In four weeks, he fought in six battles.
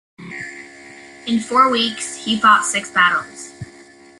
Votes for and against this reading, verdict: 0, 2, rejected